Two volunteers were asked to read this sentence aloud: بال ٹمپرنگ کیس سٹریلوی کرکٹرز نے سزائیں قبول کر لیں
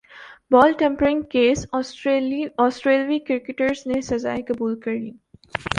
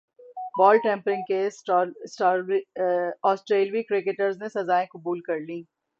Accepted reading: first